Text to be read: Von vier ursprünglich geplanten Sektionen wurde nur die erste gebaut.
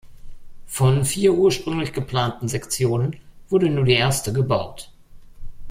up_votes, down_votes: 1, 2